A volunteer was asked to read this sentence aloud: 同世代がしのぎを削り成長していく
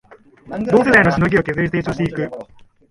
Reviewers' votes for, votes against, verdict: 1, 2, rejected